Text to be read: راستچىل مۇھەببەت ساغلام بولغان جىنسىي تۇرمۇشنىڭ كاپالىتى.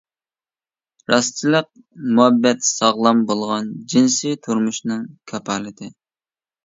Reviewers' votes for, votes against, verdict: 1, 2, rejected